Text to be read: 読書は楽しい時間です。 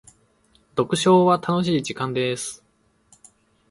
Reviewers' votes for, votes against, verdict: 1, 2, rejected